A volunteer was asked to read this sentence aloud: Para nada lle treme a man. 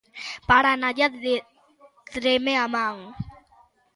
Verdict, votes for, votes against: rejected, 0, 2